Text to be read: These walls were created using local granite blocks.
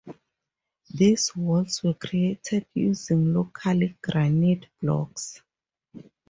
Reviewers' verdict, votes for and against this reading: accepted, 4, 0